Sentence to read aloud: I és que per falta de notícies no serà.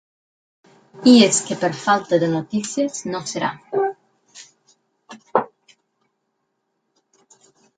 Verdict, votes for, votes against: accepted, 8, 0